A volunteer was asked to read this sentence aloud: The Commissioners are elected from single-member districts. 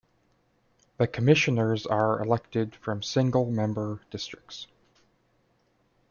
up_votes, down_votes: 2, 0